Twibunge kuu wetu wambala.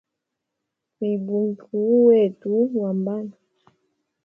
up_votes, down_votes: 1, 2